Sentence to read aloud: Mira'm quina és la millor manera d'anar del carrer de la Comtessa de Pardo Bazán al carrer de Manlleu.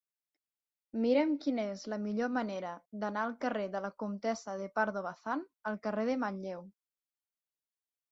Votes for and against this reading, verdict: 3, 6, rejected